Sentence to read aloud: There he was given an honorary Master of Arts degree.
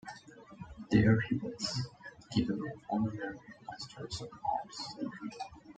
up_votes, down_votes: 1, 2